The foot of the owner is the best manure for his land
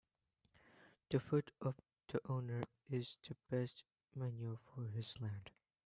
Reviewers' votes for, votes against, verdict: 2, 1, accepted